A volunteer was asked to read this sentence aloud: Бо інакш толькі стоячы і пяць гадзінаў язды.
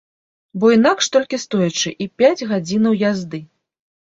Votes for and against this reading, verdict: 2, 0, accepted